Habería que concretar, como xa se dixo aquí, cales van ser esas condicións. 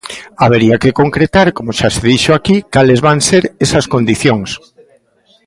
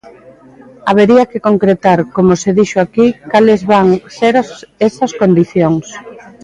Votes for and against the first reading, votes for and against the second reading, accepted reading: 2, 0, 0, 2, first